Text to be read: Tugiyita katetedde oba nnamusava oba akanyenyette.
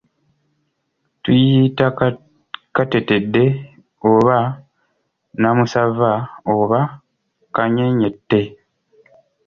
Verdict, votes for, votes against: rejected, 0, 2